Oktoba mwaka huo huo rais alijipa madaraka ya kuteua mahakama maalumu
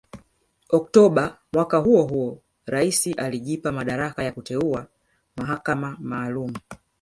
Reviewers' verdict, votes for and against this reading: rejected, 0, 2